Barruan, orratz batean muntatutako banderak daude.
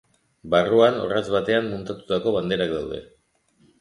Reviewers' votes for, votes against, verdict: 3, 0, accepted